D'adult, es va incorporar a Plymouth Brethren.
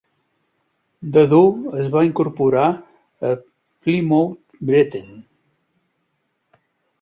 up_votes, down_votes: 1, 2